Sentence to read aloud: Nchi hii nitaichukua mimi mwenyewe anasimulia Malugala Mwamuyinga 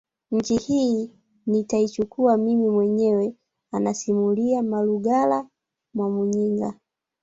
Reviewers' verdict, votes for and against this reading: rejected, 0, 2